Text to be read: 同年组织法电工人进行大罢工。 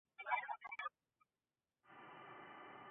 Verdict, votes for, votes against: rejected, 1, 3